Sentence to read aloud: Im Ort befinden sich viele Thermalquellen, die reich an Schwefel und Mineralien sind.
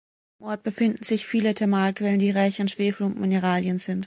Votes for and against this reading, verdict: 2, 3, rejected